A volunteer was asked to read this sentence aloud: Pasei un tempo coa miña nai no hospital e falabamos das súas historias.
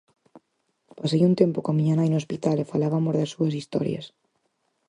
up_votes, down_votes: 0, 4